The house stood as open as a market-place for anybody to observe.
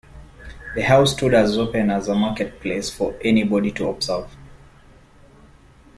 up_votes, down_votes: 1, 2